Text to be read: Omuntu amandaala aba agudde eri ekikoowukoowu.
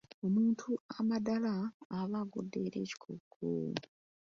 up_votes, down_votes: 0, 2